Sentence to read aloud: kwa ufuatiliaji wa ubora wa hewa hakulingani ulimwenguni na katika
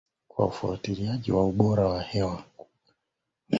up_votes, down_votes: 0, 3